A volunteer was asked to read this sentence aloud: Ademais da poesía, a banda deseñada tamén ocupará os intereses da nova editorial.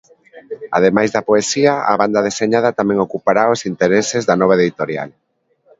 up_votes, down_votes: 2, 1